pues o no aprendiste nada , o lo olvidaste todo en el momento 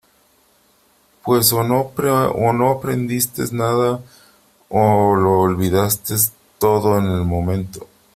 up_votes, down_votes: 0, 3